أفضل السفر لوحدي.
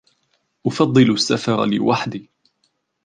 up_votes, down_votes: 2, 1